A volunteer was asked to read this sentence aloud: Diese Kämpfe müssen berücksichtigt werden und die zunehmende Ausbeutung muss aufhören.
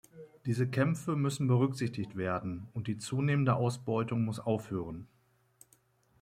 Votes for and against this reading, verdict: 2, 0, accepted